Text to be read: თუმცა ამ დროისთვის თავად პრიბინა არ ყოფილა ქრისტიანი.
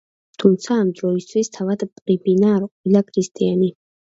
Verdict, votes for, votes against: rejected, 1, 2